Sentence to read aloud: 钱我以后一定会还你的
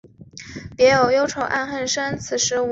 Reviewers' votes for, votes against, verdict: 0, 2, rejected